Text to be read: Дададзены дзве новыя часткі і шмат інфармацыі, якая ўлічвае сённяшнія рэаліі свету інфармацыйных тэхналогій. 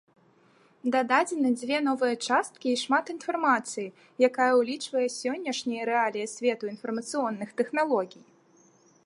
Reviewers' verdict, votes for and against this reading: rejected, 1, 2